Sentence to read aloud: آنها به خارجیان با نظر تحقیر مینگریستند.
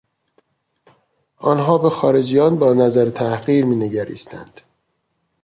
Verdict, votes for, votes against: accepted, 3, 0